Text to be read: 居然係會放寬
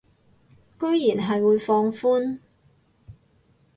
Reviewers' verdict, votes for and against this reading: accepted, 2, 0